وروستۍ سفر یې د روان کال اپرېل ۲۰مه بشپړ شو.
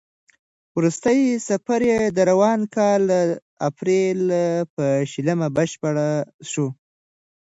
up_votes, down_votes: 0, 2